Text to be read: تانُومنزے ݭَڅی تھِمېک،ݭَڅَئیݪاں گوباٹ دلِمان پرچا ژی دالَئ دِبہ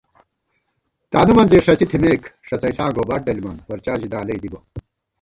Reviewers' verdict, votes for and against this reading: rejected, 1, 2